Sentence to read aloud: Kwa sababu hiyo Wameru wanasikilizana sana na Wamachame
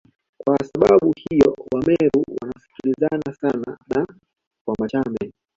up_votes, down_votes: 2, 1